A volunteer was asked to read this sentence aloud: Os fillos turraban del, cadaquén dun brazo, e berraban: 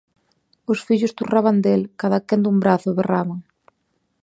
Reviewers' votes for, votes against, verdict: 2, 0, accepted